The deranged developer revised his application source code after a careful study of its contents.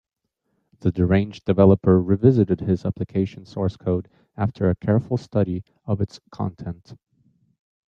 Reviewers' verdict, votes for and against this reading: rejected, 2, 4